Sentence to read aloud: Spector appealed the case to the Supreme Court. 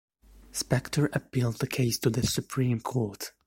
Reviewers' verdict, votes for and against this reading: accepted, 2, 0